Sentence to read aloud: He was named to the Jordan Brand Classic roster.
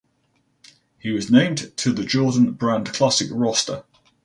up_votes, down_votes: 4, 0